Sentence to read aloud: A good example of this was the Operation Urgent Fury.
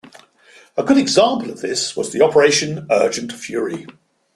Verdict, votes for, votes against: accepted, 2, 0